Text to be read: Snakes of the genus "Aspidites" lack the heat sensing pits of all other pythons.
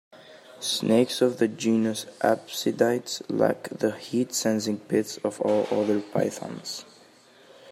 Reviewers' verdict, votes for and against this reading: rejected, 0, 2